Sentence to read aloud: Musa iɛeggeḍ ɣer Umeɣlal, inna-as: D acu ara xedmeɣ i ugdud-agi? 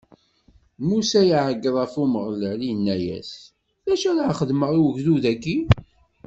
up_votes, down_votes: 1, 2